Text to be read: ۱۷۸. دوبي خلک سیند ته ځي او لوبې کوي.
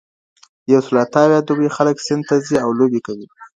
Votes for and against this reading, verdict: 0, 2, rejected